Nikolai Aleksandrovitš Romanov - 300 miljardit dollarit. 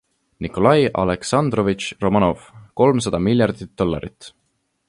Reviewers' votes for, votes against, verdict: 0, 2, rejected